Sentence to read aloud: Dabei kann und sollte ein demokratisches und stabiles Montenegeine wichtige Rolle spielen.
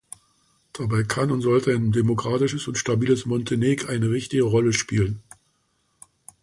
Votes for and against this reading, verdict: 0, 2, rejected